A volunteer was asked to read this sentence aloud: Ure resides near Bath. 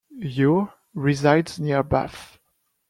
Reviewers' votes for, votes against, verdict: 2, 0, accepted